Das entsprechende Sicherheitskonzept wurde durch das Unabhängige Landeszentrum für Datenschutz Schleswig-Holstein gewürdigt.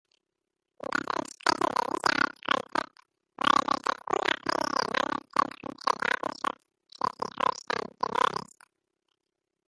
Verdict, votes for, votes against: rejected, 0, 2